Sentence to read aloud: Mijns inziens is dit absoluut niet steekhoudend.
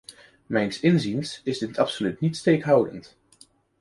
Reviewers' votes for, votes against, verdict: 2, 0, accepted